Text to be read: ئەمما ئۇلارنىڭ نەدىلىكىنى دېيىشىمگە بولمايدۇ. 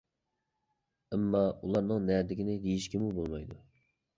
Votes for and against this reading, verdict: 0, 2, rejected